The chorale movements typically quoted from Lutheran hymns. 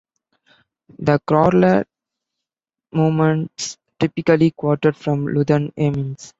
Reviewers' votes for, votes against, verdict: 1, 2, rejected